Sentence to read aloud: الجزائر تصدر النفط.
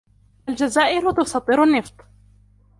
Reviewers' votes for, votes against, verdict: 1, 2, rejected